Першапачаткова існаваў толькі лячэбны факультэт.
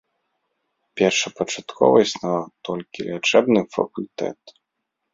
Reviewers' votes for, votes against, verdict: 2, 0, accepted